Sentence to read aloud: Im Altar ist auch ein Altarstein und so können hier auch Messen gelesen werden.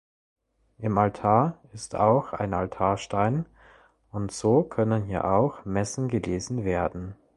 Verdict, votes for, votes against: accepted, 2, 0